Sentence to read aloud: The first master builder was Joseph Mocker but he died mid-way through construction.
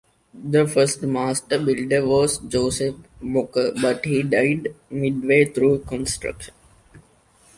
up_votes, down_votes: 2, 0